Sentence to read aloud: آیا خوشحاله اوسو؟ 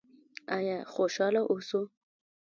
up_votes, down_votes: 0, 2